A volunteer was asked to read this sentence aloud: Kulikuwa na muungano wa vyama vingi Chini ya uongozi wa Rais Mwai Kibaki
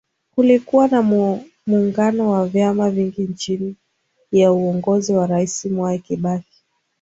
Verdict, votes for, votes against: accepted, 2, 0